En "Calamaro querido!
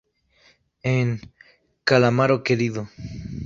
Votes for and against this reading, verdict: 2, 2, rejected